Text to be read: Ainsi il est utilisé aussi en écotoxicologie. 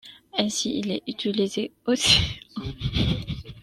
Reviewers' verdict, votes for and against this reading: rejected, 0, 2